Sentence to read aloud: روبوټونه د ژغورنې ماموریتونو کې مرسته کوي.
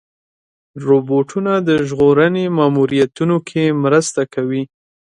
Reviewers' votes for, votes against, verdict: 2, 0, accepted